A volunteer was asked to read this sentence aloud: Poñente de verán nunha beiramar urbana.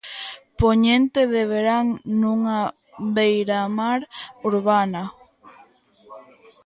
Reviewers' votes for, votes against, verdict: 1, 2, rejected